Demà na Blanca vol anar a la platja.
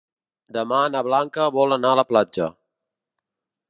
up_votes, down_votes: 3, 0